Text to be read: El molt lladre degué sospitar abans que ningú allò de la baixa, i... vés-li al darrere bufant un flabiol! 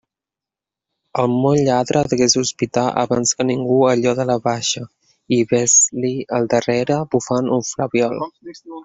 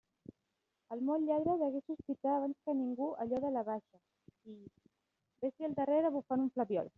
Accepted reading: second